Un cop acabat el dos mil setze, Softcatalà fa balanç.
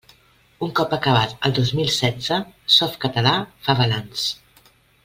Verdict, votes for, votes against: accepted, 2, 0